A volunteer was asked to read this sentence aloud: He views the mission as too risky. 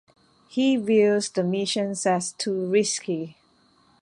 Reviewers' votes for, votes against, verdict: 1, 2, rejected